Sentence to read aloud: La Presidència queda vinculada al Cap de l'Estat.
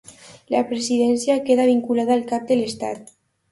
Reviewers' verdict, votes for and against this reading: accepted, 2, 0